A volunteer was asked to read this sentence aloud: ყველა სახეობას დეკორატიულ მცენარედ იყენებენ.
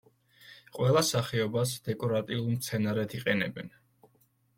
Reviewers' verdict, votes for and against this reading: accepted, 2, 0